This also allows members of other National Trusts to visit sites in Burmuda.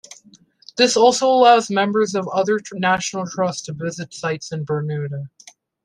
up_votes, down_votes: 2, 1